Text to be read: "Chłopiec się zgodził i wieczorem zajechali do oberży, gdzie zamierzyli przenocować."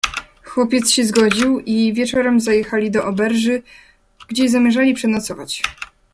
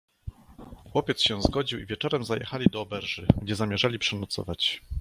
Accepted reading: first